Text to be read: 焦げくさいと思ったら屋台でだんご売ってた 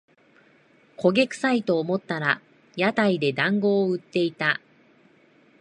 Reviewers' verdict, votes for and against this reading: rejected, 0, 2